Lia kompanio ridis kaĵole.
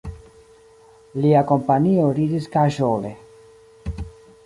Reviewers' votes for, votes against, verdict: 1, 2, rejected